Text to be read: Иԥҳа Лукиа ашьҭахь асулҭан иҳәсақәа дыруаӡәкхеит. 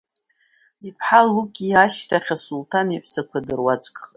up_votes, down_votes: 2, 0